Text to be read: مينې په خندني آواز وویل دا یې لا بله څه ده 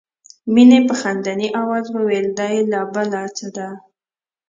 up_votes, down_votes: 0, 2